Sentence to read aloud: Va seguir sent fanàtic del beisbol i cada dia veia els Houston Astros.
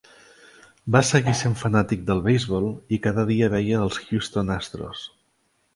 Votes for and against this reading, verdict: 4, 1, accepted